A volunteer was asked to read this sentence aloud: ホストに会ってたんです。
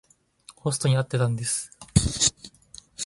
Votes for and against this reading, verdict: 2, 0, accepted